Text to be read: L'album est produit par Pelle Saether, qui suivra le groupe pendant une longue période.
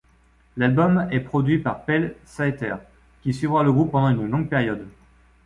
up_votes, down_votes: 2, 0